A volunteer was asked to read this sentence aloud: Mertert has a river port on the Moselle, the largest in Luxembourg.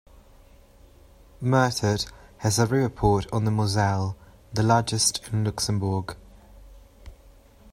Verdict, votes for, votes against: accepted, 2, 0